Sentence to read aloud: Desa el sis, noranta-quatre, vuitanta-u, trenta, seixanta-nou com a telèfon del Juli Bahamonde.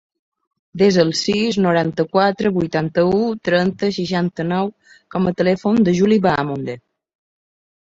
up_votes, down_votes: 0, 2